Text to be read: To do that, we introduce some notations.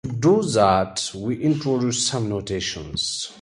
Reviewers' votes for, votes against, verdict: 2, 2, rejected